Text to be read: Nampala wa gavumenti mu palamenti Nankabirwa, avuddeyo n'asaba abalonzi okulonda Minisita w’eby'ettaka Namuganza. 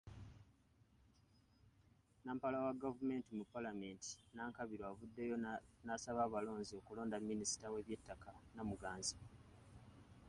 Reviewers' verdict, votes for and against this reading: rejected, 1, 2